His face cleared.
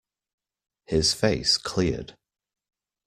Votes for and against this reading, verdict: 2, 0, accepted